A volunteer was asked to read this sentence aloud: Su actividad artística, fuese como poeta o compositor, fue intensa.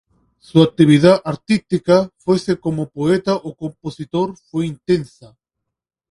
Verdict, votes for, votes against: accepted, 2, 0